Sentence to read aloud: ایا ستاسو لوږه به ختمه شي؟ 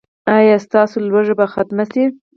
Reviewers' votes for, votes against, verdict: 4, 0, accepted